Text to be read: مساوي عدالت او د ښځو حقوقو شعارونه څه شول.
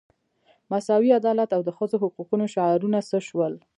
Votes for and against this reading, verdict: 1, 2, rejected